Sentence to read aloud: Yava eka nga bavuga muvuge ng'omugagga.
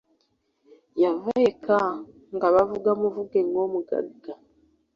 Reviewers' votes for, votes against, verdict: 2, 0, accepted